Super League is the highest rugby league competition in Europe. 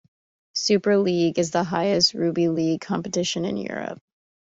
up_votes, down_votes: 1, 2